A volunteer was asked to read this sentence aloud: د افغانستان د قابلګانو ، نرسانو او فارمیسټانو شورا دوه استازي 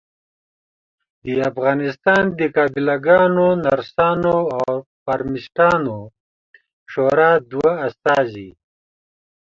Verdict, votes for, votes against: accepted, 2, 0